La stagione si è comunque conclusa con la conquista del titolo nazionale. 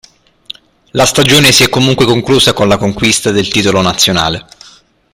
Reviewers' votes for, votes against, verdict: 0, 2, rejected